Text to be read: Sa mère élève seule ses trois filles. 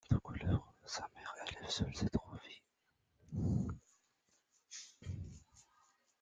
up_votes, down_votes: 0, 2